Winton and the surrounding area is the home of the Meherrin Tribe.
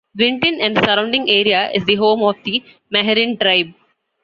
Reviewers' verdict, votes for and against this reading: accepted, 2, 0